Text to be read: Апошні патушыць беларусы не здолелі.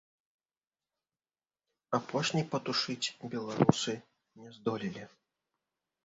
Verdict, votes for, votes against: rejected, 0, 3